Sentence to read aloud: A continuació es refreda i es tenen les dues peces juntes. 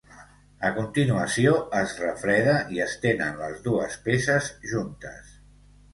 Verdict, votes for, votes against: accepted, 2, 0